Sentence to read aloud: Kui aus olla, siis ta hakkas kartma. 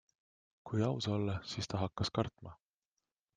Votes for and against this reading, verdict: 2, 0, accepted